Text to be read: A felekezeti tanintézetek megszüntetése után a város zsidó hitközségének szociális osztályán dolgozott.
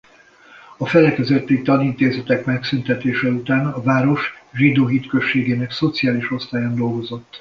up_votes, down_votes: 2, 0